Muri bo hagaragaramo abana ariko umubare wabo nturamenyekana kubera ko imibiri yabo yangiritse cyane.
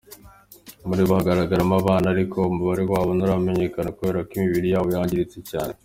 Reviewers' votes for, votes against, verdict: 2, 1, accepted